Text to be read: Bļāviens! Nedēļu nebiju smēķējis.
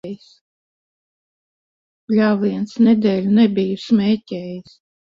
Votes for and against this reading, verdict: 0, 2, rejected